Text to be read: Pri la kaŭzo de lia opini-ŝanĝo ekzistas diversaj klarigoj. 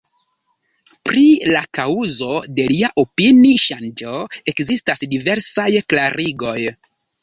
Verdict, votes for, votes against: rejected, 1, 2